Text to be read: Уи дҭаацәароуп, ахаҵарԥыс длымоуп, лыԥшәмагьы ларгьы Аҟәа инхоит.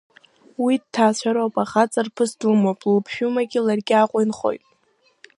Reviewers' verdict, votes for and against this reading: accepted, 2, 0